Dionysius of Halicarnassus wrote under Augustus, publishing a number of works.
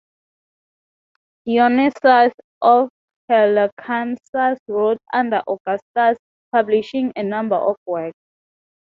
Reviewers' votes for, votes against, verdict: 0, 2, rejected